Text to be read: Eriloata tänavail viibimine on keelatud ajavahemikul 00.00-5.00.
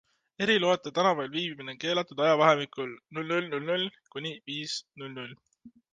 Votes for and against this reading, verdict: 0, 2, rejected